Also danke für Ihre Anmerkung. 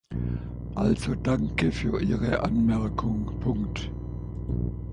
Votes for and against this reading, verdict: 0, 3, rejected